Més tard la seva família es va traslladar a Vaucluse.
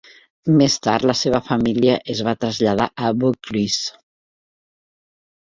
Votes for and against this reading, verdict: 1, 2, rejected